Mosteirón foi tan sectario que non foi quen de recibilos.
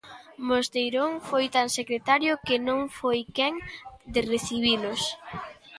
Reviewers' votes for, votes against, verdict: 0, 2, rejected